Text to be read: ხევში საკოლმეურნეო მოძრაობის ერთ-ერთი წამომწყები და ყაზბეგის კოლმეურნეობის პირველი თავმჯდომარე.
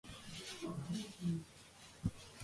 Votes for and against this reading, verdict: 0, 2, rejected